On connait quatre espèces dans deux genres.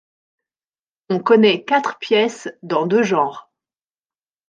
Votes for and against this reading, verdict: 1, 3, rejected